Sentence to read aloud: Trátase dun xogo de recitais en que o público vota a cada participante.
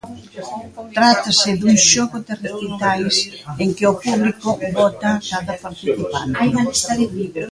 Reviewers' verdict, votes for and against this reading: rejected, 0, 2